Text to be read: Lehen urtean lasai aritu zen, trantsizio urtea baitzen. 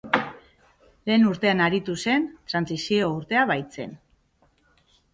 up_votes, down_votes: 0, 2